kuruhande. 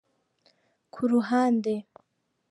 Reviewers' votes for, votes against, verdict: 2, 0, accepted